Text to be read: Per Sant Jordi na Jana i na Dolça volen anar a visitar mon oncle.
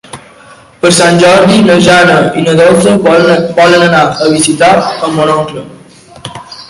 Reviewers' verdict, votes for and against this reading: rejected, 0, 2